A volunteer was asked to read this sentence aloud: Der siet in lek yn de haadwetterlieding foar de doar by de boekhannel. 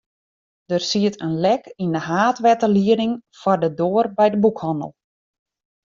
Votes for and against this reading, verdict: 2, 0, accepted